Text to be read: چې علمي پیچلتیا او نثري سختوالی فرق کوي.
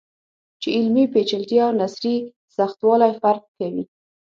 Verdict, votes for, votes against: rejected, 3, 6